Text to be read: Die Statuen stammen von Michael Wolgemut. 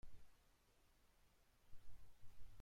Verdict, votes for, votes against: rejected, 0, 2